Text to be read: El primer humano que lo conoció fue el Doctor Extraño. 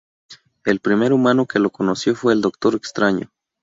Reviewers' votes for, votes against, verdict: 0, 2, rejected